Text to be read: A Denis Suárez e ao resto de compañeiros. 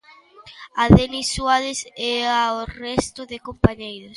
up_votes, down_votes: 2, 0